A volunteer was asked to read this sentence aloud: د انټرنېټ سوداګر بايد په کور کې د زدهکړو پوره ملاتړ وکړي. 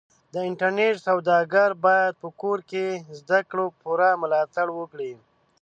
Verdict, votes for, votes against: rejected, 0, 2